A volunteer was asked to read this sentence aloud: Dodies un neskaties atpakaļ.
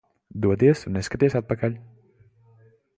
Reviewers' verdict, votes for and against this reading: accepted, 2, 0